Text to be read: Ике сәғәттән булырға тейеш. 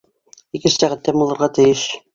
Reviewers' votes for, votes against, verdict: 0, 2, rejected